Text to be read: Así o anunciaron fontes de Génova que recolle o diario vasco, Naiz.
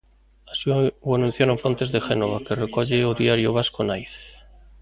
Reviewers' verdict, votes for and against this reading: rejected, 0, 2